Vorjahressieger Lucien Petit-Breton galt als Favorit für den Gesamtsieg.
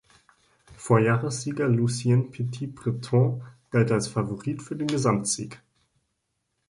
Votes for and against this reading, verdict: 1, 2, rejected